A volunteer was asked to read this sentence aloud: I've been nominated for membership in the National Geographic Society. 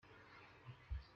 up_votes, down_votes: 0, 2